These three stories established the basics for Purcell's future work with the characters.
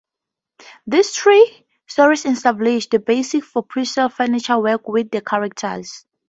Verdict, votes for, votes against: rejected, 0, 4